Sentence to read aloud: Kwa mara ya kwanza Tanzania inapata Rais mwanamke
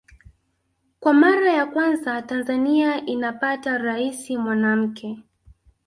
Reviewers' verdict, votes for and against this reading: accepted, 2, 1